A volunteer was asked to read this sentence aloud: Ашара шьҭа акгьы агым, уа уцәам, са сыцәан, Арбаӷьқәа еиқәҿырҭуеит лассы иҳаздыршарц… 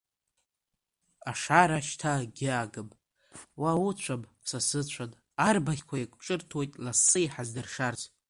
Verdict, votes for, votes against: rejected, 1, 2